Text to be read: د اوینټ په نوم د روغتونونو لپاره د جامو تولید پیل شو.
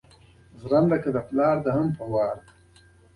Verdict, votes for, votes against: rejected, 1, 2